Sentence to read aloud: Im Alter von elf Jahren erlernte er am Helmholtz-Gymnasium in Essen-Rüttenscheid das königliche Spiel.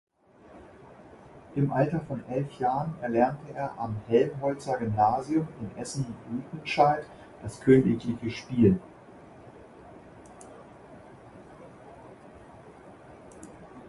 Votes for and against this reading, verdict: 0, 2, rejected